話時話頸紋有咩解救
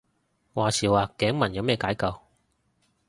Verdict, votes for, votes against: accepted, 2, 0